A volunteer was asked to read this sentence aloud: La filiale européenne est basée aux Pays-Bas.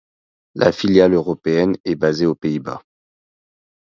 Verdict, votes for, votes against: accepted, 2, 0